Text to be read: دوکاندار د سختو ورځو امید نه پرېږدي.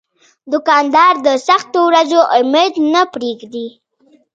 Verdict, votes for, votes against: rejected, 1, 2